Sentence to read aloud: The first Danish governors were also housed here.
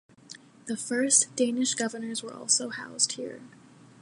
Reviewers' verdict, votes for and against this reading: accepted, 2, 0